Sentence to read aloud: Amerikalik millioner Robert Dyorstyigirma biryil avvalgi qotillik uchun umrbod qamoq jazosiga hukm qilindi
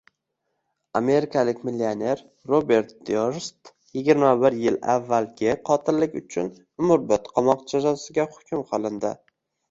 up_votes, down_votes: 1, 2